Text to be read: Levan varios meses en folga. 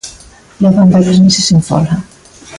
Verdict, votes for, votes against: accepted, 2, 0